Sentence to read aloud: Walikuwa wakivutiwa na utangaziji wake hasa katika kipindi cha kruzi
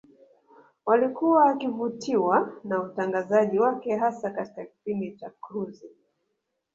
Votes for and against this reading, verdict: 1, 2, rejected